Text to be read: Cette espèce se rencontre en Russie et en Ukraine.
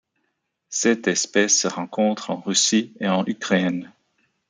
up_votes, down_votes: 1, 2